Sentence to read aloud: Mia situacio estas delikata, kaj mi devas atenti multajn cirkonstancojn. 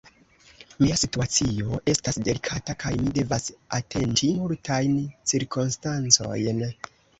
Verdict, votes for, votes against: accepted, 2, 1